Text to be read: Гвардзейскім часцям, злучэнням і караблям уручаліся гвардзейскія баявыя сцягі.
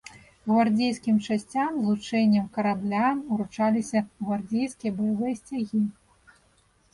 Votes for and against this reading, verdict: 1, 2, rejected